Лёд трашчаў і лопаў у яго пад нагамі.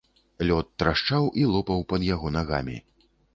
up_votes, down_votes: 0, 2